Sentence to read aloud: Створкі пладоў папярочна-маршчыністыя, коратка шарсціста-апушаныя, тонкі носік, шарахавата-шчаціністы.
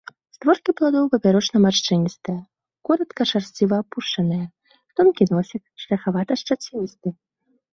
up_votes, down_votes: 0, 2